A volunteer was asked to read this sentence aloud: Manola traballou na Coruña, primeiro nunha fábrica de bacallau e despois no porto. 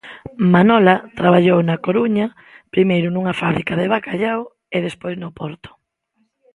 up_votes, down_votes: 2, 0